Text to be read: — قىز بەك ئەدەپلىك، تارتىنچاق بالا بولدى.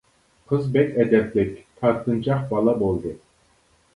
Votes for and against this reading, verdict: 2, 0, accepted